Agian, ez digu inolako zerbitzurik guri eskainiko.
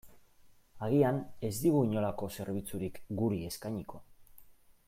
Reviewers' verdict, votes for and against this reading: accepted, 2, 0